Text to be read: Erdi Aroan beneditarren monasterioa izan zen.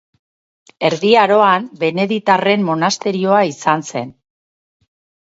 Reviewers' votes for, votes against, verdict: 4, 0, accepted